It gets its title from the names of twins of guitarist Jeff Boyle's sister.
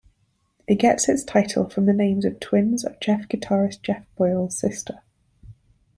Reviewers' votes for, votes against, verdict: 0, 2, rejected